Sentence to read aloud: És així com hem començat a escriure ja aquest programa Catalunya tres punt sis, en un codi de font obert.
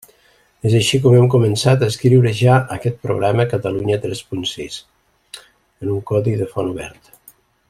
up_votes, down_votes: 1, 2